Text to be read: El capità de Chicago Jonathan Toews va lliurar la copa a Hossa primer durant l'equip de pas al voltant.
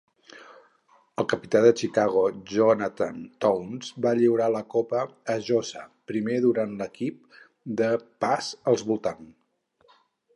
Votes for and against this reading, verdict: 2, 2, rejected